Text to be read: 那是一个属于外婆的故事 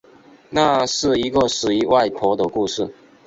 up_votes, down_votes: 2, 0